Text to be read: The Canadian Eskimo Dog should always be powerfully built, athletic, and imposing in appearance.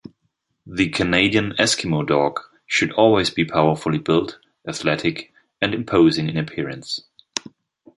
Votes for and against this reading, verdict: 2, 1, accepted